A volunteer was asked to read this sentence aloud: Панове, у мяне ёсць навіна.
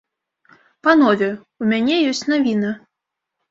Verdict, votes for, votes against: rejected, 1, 2